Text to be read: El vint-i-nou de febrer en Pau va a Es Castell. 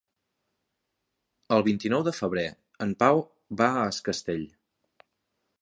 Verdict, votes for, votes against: accepted, 3, 0